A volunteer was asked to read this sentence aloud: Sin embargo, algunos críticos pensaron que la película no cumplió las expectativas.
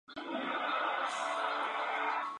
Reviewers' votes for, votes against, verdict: 0, 2, rejected